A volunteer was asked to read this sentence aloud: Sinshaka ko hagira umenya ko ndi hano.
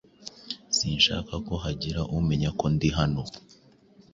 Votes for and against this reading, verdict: 2, 0, accepted